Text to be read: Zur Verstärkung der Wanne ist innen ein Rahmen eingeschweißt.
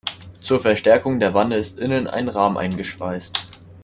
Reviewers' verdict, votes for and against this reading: accepted, 2, 0